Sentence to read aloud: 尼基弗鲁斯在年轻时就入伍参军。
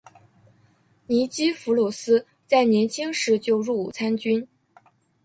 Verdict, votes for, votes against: accepted, 2, 0